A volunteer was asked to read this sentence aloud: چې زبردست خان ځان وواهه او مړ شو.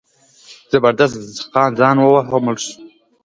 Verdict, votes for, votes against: rejected, 1, 2